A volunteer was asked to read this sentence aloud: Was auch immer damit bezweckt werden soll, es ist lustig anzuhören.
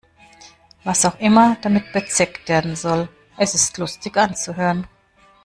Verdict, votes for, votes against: accepted, 2, 0